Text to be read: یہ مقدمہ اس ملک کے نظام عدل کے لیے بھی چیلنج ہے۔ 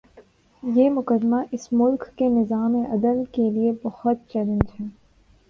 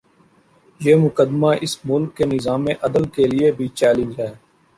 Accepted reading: second